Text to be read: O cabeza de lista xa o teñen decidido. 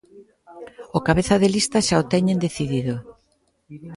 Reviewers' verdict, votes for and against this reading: rejected, 0, 2